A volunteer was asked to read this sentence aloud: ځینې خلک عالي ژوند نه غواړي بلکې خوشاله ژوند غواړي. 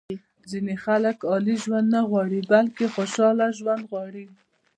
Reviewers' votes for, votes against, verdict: 1, 2, rejected